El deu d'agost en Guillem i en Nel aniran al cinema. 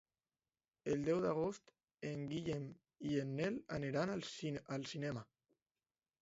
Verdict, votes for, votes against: rejected, 0, 2